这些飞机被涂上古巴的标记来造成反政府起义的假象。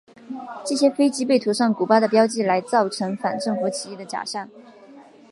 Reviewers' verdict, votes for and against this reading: rejected, 1, 2